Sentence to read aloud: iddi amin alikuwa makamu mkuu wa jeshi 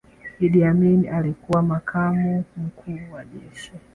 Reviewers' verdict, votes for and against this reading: accepted, 2, 1